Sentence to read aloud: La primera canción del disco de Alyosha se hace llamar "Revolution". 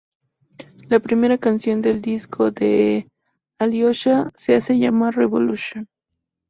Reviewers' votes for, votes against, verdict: 4, 0, accepted